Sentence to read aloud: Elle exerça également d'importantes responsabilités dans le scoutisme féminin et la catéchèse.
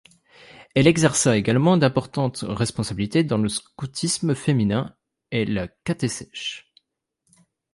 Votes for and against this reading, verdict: 2, 3, rejected